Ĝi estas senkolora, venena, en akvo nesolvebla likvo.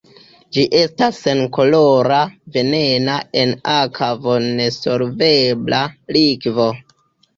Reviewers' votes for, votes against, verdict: 1, 2, rejected